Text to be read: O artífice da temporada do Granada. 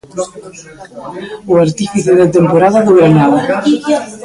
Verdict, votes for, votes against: rejected, 0, 2